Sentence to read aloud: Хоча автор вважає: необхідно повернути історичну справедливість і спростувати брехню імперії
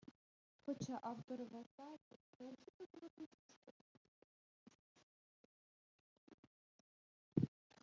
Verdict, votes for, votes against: rejected, 0, 2